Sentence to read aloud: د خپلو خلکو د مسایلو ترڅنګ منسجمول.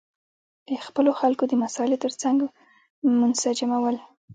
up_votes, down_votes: 2, 0